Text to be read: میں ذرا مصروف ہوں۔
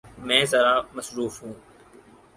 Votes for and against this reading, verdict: 4, 0, accepted